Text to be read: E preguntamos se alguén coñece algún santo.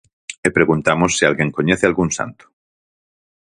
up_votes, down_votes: 4, 0